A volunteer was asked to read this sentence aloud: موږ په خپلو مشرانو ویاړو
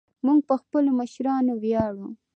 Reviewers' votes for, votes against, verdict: 2, 0, accepted